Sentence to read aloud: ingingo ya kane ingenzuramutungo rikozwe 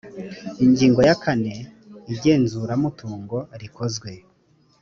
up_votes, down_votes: 2, 0